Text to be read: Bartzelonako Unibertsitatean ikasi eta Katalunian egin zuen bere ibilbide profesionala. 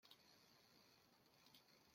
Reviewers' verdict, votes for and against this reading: rejected, 0, 2